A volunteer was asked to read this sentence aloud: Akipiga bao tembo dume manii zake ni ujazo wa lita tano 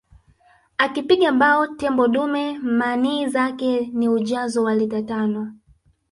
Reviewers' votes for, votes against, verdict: 2, 1, accepted